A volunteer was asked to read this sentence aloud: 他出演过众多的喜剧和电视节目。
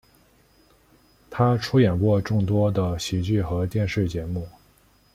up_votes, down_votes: 2, 0